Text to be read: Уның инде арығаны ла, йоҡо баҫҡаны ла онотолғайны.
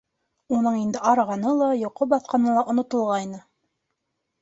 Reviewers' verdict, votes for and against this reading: accepted, 2, 0